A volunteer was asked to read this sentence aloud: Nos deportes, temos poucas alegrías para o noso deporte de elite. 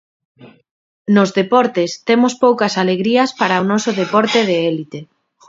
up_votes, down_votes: 1, 2